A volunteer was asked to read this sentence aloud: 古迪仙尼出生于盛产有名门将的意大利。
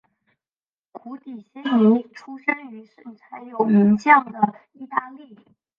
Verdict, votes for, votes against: rejected, 0, 2